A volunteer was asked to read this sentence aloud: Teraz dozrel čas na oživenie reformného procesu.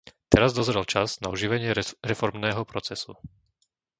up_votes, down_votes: 0, 2